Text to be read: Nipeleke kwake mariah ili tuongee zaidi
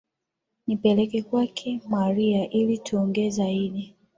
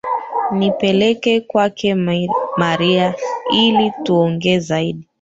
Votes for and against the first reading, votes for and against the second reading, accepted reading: 2, 1, 1, 2, first